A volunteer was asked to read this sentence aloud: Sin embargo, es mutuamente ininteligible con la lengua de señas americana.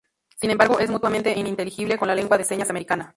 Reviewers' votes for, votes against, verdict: 0, 2, rejected